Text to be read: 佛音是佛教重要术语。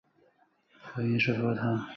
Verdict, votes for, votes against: accepted, 2, 1